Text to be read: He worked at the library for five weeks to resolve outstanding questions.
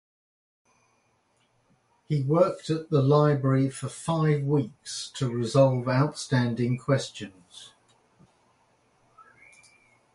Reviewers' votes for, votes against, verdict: 2, 0, accepted